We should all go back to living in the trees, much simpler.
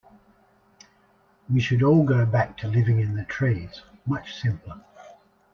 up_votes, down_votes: 1, 2